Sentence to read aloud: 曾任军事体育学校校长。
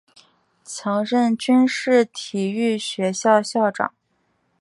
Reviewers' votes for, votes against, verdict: 3, 0, accepted